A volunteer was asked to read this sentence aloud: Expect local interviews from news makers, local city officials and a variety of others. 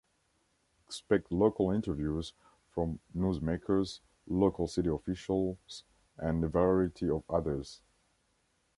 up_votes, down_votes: 1, 2